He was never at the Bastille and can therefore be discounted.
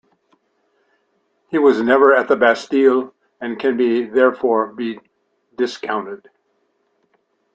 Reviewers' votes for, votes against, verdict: 0, 2, rejected